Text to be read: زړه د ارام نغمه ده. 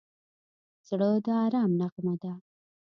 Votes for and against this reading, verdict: 2, 0, accepted